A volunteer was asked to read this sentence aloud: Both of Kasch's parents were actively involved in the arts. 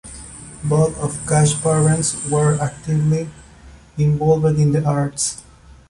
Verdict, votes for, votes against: rejected, 0, 2